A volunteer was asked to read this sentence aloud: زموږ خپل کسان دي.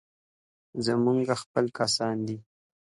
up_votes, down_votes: 3, 0